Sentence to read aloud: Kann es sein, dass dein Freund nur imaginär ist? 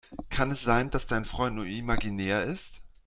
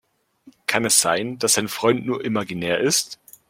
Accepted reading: second